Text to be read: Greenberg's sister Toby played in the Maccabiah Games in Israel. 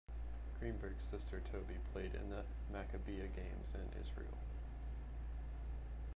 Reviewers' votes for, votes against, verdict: 0, 2, rejected